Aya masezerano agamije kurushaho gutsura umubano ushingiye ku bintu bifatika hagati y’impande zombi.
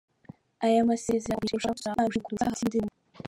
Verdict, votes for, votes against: rejected, 0, 2